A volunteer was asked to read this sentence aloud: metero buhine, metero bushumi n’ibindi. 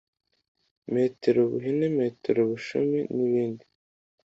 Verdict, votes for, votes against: accepted, 2, 0